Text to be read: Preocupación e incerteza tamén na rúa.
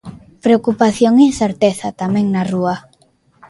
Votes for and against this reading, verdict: 2, 0, accepted